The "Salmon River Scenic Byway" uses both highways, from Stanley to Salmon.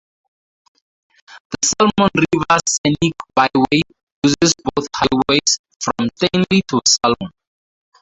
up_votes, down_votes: 2, 0